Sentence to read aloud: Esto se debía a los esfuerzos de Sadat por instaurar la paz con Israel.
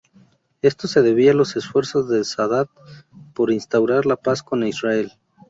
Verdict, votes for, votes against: rejected, 0, 2